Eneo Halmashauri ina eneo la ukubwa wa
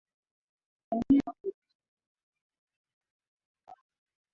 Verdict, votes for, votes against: rejected, 0, 2